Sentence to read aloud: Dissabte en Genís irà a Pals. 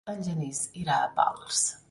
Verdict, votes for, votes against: rejected, 0, 2